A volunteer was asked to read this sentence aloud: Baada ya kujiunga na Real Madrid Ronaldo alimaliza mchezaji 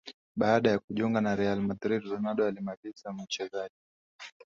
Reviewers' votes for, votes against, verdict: 3, 0, accepted